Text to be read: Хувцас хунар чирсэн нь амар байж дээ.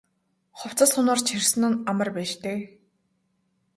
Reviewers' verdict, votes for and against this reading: accepted, 2, 0